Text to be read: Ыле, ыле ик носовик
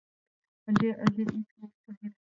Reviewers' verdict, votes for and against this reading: rejected, 0, 2